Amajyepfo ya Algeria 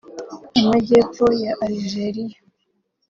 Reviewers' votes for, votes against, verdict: 2, 1, accepted